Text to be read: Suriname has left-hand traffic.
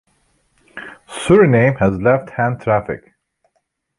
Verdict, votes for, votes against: accepted, 4, 3